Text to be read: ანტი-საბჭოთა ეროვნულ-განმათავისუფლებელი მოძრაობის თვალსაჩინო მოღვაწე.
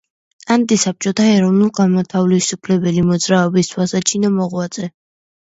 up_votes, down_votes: 2, 0